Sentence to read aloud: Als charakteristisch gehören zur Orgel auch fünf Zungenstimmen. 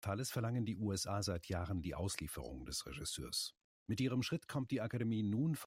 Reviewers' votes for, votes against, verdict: 0, 2, rejected